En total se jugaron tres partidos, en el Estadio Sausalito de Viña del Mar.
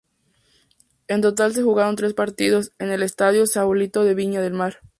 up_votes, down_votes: 0, 2